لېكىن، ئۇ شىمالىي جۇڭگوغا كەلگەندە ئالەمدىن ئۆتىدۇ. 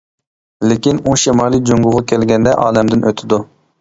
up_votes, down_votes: 2, 1